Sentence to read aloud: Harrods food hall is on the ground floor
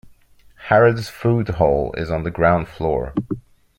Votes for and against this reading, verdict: 2, 0, accepted